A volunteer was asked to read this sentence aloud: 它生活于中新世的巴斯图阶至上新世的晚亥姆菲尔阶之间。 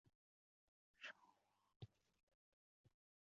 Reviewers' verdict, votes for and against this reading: rejected, 0, 4